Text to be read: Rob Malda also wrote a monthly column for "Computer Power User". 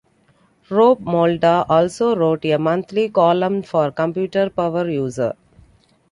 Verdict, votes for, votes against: accepted, 2, 0